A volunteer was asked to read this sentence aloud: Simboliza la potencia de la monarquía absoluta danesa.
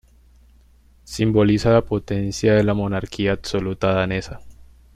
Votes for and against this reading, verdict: 2, 0, accepted